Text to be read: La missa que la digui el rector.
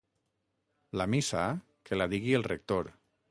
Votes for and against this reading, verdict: 6, 0, accepted